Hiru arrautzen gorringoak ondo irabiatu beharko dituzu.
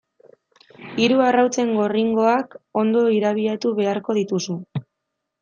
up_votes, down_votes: 2, 0